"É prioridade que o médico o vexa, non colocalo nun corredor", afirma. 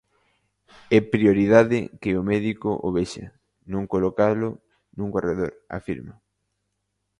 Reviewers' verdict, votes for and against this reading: accepted, 2, 0